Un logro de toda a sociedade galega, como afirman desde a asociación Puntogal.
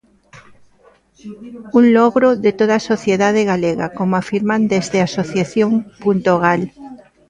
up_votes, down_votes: 0, 2